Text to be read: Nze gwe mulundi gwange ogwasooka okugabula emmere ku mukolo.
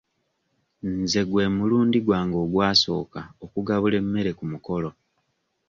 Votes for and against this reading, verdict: 2, 0, accepted